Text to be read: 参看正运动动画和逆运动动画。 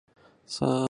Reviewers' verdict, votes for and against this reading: rejected, 0, 2